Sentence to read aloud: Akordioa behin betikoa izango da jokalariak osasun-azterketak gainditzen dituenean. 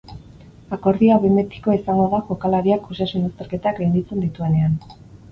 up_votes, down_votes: 2, 4